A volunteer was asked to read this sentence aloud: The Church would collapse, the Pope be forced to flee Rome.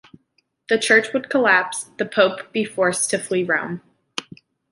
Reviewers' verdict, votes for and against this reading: accepted, 2, 0